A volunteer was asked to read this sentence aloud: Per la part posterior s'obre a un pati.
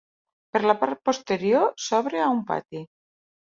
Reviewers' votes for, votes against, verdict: 3, 0, accepted